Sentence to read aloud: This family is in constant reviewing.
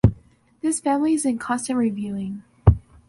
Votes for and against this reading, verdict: 2, 0, accepted